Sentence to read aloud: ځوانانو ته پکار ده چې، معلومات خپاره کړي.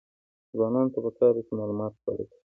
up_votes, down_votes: 2, 0